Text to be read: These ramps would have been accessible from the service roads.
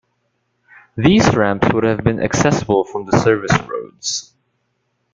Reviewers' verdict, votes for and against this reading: rejected, 0, 2